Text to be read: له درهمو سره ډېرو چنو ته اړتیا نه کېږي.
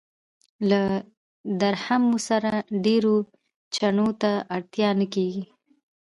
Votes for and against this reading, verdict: 2, 0, accepted